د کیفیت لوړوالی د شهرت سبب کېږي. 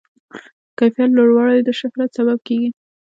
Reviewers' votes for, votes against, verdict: 1, 2, rejected